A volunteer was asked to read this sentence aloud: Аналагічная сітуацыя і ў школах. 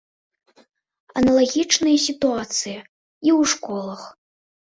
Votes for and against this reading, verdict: 2, 0, accepted